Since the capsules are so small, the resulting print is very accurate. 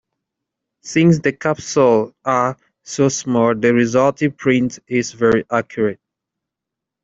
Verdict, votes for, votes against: rejected, 1, 2